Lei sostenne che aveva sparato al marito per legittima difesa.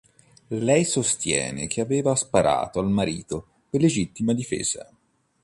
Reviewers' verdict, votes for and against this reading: rejected, 1, 2